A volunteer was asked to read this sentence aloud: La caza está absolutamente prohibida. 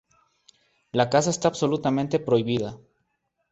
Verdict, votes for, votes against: accepted, 4, 0